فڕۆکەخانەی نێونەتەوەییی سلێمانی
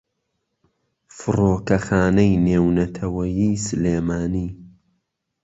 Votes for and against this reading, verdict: 2, 0, accepted